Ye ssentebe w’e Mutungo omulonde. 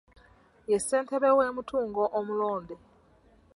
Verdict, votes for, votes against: accepted, 2, 0